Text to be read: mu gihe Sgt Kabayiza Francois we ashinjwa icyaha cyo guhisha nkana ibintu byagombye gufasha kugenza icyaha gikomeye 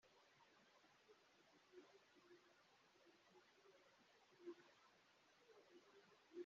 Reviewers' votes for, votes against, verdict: 0, 2, rejected